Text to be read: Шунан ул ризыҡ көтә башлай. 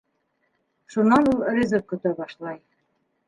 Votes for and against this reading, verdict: 0, 2, rejected